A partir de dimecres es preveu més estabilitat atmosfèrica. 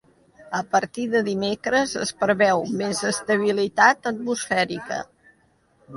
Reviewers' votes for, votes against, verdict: 2, 0, accepted